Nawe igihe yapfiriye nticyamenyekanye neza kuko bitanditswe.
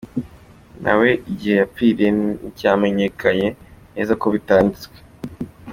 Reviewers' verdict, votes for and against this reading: accepted, 2, 1